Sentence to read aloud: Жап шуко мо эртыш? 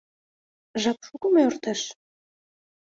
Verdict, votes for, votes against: accepted, 2, 0